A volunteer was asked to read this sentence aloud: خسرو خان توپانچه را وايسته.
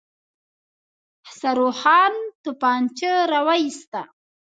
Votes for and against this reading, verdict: 0, 2, rejected